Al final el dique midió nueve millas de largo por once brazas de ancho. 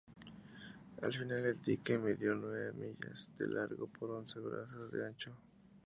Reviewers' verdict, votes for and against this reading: rejected, 2, 4